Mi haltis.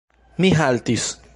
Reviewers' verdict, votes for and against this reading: accepted, 2, 1